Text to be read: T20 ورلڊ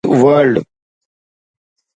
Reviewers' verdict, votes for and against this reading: rejected, 0, 2